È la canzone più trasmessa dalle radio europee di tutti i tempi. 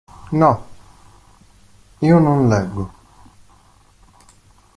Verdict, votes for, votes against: rejected, 0, 2